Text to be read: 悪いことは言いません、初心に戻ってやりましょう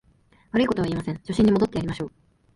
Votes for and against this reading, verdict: 1, 2, rejected